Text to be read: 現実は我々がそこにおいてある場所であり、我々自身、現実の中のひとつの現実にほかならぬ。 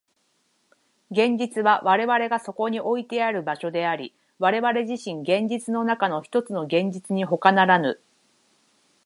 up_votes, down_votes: 63, 3